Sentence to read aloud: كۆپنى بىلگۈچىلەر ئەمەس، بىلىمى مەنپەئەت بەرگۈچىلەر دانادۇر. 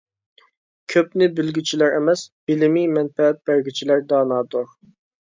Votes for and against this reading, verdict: 2, 0, accepted